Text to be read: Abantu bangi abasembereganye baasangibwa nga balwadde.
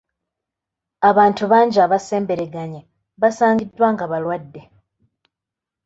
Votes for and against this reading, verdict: 0, 2, rejected